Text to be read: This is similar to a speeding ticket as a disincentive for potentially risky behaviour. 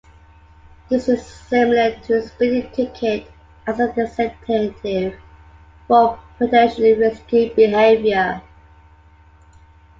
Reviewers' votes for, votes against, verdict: 2, 1, accepted